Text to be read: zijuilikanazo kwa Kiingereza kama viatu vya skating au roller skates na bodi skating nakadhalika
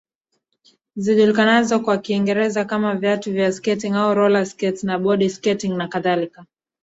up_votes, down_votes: 0, 2